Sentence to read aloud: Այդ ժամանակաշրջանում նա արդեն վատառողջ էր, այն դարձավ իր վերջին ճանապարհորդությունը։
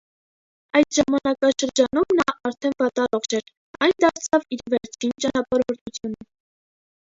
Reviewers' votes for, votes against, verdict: 0, 2, rejected